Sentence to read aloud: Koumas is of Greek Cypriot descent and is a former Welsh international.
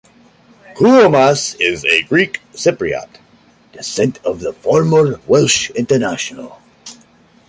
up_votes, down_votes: 2, 1